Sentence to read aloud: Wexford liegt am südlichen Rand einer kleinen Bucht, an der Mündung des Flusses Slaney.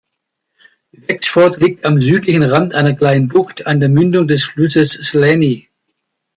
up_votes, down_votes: 1, 2